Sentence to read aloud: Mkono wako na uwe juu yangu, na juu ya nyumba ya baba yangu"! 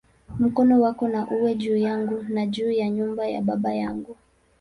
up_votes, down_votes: 5, 0